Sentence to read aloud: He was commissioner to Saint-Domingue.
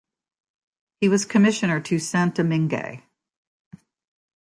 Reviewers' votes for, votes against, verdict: 2, 0, accepted